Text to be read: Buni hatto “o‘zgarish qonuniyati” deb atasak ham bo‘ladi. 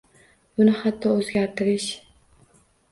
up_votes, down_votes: 0, 2